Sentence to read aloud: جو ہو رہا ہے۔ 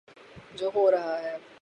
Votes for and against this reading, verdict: 3, 0, accepted